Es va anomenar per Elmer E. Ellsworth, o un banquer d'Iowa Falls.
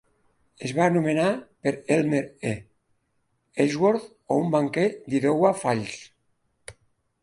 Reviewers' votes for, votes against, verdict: 3, 1, accepted